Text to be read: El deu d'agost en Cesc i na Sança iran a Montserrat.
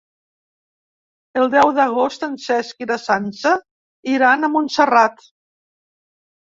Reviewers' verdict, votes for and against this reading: accepted, 3, 0